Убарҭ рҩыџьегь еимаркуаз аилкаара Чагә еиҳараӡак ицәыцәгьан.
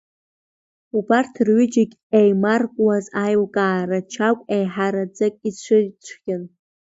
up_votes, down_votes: 1, 2